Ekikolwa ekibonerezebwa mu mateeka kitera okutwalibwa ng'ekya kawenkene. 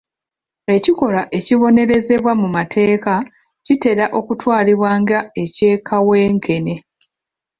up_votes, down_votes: 1, 2